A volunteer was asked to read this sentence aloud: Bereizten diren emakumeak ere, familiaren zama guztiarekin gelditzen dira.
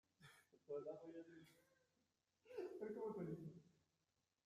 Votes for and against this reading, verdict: 0, 2, rejected